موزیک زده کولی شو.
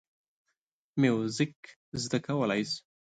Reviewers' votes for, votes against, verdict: 2, 0, accepted